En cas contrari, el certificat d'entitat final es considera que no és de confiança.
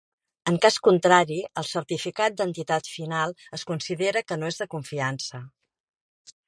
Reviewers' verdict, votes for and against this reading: accepted, 3, 0